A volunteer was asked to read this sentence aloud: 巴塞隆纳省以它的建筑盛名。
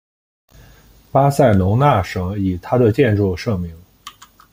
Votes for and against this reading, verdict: 2, 0, accepted